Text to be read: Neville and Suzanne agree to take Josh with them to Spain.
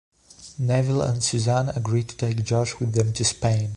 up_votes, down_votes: 3, 0